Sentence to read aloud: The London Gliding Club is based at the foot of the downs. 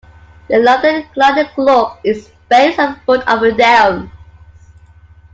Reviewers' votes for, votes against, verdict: 1, 2, rejected